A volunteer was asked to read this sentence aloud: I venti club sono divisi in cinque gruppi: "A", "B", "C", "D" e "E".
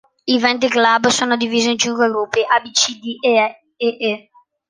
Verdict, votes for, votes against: rejected, 0, 2